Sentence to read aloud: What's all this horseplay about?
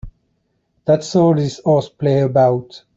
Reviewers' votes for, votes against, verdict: 0, 3, rejected